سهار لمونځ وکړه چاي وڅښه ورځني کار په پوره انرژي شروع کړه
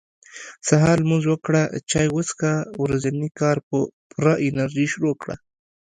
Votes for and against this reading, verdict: 2, 0, accepted